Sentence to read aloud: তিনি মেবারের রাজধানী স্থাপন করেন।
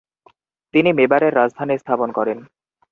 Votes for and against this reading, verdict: 2, 2, rejected